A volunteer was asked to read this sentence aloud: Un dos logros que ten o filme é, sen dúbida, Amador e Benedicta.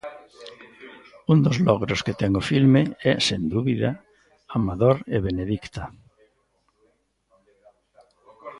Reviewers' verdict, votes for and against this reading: rejected, 1, 2